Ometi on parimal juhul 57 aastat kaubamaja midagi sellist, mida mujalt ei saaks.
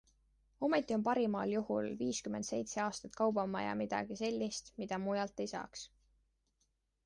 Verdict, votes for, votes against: rejected, 0, 2